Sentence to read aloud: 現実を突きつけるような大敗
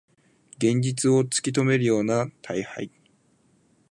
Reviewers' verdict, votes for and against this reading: rejected, 3, 5